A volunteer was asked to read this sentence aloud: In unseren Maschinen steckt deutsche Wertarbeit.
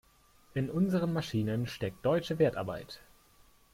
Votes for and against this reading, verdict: 2, 0, accepted